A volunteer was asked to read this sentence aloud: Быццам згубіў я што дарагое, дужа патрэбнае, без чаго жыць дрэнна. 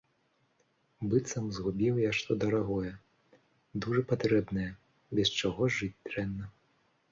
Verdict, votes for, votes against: accepted, 2, 0